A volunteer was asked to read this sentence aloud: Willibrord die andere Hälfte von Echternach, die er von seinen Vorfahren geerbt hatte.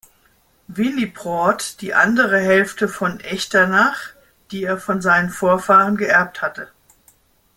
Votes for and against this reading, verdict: 2, 0, accepted